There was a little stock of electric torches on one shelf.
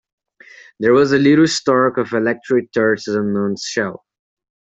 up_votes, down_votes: 1, 2